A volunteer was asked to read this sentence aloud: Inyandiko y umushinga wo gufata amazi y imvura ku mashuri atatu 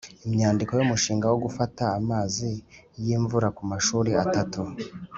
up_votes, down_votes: 2, 0